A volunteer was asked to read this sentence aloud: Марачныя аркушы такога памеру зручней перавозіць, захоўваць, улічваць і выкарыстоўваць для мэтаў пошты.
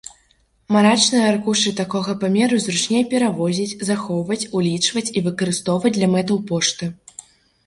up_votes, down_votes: 0, 2